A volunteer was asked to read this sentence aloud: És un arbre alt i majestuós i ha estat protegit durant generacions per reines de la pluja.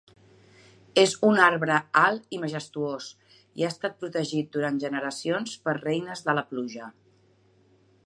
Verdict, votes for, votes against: accepted, 3, 0